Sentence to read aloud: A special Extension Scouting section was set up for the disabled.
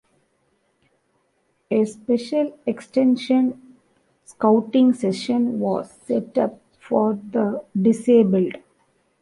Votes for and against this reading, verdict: 0, 2, rejected